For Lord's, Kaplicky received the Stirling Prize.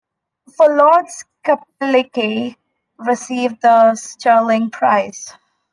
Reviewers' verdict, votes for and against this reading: accepted, 2, 1